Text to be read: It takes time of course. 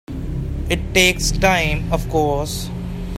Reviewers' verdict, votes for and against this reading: accepted, 3, 0